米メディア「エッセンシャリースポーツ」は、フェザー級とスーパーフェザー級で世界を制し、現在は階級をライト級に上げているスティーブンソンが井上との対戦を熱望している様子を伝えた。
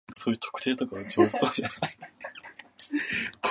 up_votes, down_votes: 0, 2